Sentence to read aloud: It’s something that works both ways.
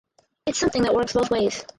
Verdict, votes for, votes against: rejected, 0, 4